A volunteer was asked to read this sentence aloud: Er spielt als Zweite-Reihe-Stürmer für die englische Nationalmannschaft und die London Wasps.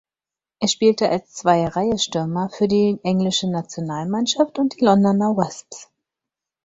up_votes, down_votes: 0, 4